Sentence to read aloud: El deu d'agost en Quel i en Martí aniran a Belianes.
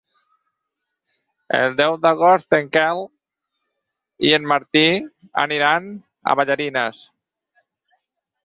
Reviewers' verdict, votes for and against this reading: rejected, 0, 4